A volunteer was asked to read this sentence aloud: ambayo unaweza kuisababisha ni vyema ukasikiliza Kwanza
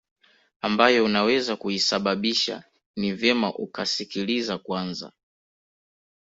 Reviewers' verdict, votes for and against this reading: accepted, 2, 0